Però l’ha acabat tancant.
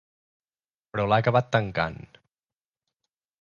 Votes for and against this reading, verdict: 2, 0, accepted